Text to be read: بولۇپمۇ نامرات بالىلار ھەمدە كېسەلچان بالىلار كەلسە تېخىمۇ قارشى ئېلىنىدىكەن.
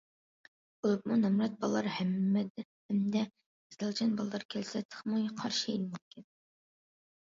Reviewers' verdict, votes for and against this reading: rejected, 0, 2